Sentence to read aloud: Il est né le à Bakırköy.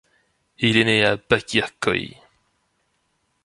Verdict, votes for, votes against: rejected, 1, 2